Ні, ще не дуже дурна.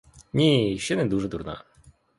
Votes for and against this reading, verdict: 2, 0, accepted